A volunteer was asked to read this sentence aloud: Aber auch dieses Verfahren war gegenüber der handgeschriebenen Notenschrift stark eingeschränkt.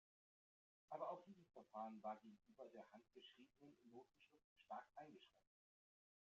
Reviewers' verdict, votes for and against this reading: rejected, 1, 2